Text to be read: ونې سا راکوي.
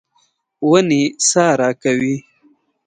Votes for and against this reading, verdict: 2, 0, accepted